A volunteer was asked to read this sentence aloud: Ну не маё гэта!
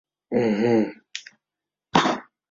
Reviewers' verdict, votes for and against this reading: rejected, 0, 2